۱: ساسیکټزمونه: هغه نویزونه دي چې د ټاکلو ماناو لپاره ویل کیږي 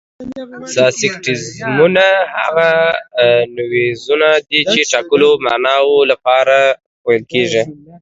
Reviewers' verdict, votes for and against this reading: rejected, 0, 2